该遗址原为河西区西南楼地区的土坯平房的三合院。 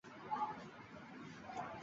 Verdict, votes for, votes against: rejected, 0, 2